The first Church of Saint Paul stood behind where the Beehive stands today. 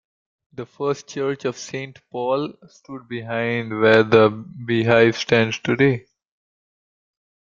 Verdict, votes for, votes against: rejected, 1, 2